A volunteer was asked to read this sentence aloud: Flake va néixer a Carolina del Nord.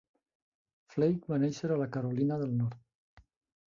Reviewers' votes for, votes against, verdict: 0, 2, rejected